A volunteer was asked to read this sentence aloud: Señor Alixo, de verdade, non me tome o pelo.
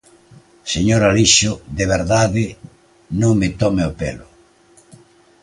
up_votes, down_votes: 2, 0